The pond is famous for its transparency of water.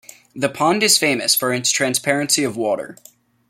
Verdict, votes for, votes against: accepted, 2, 0